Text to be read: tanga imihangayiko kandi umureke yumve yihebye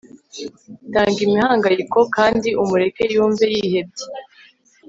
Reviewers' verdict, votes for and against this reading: accepted, 2, 0